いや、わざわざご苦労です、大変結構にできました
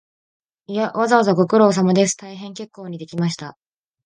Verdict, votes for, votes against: accepted, 2, 0